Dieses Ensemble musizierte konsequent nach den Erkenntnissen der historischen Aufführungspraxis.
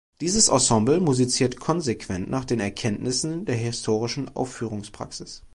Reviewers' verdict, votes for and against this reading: rejected, 1, 2